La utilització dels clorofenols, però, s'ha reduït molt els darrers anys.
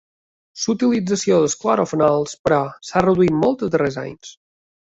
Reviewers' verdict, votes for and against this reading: accepted, 2, 1